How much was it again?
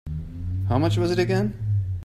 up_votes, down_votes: 2, 0